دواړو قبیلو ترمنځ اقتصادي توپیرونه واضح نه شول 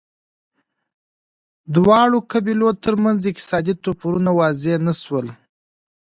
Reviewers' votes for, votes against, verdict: 2, 0, accepted